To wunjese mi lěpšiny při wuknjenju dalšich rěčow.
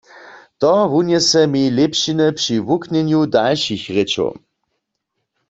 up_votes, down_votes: 2, 0